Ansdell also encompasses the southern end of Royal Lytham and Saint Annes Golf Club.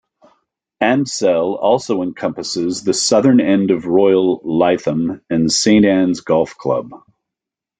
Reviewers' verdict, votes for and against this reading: accepted, 2, 0